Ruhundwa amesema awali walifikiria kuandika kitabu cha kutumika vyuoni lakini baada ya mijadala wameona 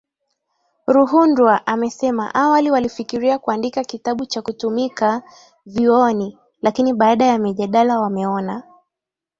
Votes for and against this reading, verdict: 2, 0, accepted